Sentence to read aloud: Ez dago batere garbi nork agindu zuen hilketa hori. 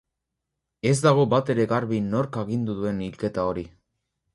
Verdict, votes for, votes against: rejected, 0, 2